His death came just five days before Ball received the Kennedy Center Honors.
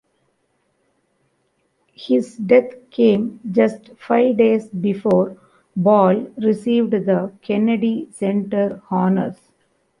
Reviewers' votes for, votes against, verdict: 1, 2, rejected